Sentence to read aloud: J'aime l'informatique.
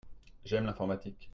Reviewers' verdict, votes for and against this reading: accepted, 2, 0